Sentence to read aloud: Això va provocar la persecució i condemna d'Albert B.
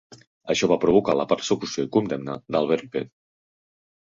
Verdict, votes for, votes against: accepted, 3, 0